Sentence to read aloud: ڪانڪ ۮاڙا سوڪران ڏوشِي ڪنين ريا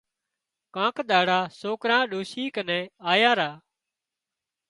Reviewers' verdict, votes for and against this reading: rejected, 0, 2